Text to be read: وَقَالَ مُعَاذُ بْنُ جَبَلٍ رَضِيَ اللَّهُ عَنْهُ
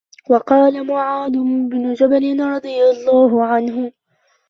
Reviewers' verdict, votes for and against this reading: rejected, 1, 2